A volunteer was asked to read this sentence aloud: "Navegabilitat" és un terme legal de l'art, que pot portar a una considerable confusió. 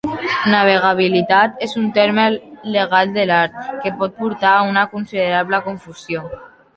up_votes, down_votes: 2, 1